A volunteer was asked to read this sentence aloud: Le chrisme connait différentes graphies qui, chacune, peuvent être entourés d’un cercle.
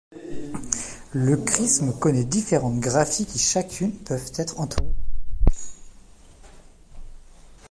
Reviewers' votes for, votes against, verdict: 0, 2, rejected